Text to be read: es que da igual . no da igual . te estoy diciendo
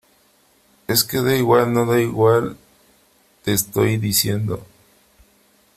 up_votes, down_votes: 2, 1